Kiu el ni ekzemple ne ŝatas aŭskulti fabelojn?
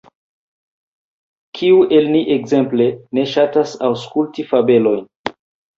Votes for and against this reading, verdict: 1, 2, rejected